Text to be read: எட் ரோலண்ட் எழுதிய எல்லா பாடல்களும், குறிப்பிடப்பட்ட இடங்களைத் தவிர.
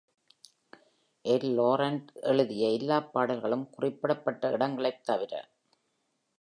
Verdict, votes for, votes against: rejected, 1, 2